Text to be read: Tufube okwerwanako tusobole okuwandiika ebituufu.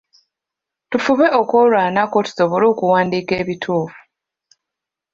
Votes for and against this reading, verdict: 1, 2, rejected